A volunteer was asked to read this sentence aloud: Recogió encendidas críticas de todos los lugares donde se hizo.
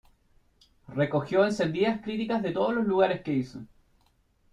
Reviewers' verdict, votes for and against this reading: rejected, 0, 2